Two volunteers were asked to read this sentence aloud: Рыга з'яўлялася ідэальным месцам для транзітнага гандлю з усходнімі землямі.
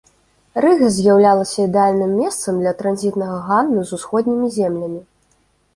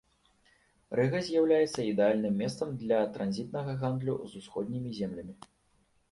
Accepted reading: first